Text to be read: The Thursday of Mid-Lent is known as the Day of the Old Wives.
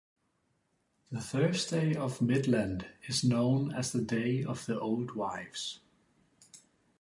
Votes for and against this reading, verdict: 3, 3, rejected